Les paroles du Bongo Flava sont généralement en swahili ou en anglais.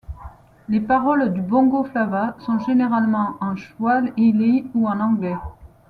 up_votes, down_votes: 1, 2